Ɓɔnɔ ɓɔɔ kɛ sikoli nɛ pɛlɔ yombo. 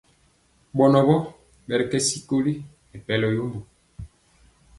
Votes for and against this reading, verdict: 3, 0, accepted